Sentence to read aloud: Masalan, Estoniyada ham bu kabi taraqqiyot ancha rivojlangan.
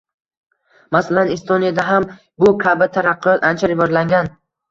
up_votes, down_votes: 1, 2